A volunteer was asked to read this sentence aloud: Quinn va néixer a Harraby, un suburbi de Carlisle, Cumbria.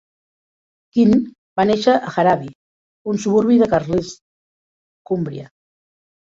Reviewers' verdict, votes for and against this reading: rejected, 0, 2